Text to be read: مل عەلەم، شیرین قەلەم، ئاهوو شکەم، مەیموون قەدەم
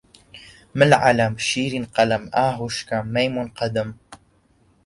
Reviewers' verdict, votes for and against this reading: accepted, 2, 0